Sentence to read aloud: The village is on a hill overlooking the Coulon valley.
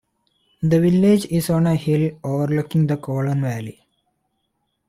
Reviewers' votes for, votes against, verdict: 2, 0, accepted